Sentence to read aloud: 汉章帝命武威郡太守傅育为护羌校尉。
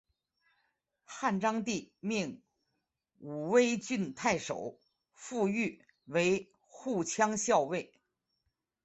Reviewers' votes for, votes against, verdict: 4, 2, accepted